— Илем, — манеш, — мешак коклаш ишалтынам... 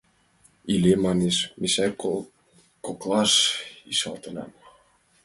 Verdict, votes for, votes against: rejected, 0, 2